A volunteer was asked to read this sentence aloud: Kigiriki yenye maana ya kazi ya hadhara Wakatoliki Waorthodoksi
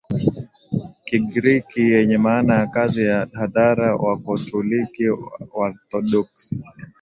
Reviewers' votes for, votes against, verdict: 2, 0, accepted